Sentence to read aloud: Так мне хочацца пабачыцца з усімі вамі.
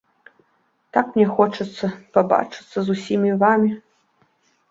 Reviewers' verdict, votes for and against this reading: accepted, 2, 0